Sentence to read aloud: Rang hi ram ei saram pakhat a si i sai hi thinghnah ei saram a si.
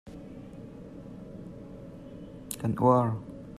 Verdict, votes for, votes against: rejected, 0, 2